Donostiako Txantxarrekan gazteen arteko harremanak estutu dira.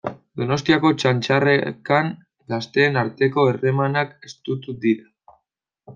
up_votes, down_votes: 0, 2